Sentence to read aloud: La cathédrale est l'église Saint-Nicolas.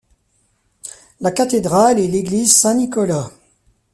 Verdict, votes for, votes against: accepted, 3, 0